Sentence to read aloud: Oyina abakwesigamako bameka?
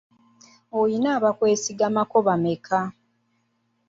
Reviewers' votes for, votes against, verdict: 2, 1, accepted